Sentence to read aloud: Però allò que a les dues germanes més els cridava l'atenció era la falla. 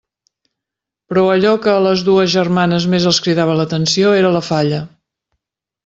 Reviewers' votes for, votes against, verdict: 5, 0, accepted